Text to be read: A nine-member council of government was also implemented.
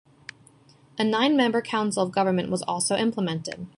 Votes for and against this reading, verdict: 2, 0, accepted